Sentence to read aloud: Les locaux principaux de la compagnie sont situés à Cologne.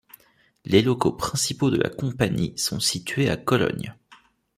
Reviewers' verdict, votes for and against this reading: accepted, 2, 0